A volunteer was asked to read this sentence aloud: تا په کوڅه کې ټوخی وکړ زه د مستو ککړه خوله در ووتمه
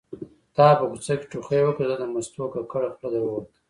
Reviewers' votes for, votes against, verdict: 0, 2, rejected